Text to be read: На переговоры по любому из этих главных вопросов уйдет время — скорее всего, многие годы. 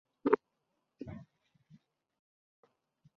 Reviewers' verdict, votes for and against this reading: rejected, 0, 2